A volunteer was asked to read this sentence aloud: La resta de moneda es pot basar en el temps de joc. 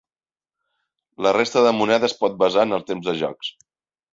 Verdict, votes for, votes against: rejected, 0, 2